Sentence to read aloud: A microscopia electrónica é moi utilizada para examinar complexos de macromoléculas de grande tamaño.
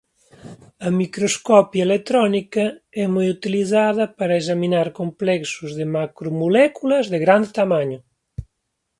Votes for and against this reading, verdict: 0, 2, rejected